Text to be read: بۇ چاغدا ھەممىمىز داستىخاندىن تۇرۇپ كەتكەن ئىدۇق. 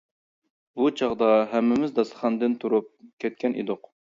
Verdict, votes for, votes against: accepted, 2, 0